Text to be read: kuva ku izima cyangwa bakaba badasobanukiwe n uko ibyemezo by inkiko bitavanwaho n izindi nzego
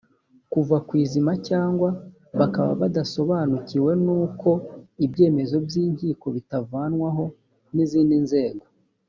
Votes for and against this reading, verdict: 2, 0, accepted